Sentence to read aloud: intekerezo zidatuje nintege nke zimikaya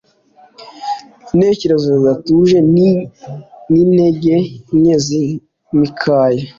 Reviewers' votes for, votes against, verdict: 2, 0, accepted